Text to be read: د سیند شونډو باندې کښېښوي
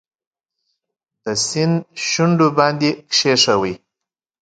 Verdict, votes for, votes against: accepted, 2, 0